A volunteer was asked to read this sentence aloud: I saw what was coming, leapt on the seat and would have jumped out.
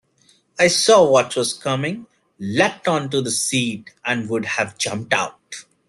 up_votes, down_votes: 0, 2